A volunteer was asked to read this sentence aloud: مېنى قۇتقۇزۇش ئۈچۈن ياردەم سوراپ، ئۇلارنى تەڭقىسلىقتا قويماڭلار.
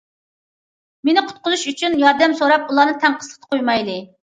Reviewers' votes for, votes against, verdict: 0, 2, rejected